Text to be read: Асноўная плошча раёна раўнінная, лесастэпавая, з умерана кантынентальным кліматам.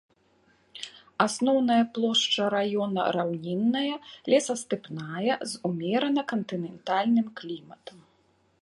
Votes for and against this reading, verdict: 0, 2, rejected